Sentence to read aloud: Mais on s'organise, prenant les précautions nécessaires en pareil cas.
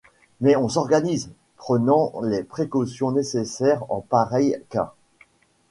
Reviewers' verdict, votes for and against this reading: accepted, 2, 0